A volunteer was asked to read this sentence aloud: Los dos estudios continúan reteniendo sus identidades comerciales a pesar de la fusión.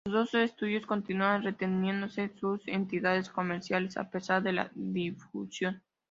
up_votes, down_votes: 0, 2